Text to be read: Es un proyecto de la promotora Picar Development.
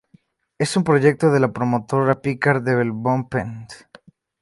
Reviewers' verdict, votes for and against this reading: rejected, 0, 2